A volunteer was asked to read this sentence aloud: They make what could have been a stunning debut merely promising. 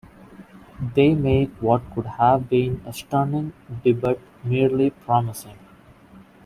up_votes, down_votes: 1, 2